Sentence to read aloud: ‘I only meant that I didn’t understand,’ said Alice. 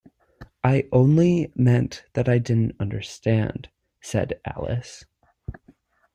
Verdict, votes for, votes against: accepted, 2, 0